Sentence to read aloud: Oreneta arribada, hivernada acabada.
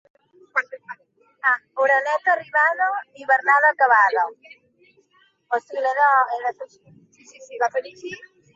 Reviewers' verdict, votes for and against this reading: rejected, 0, 3